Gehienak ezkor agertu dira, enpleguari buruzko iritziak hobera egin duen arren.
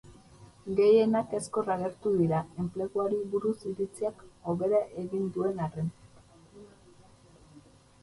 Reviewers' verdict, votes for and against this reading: rejected, 0, 2